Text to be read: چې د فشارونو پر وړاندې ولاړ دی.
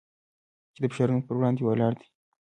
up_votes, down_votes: 0, 2